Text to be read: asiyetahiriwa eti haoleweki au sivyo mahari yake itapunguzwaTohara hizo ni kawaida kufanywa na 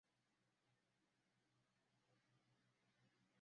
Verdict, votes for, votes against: rejected, 0, 2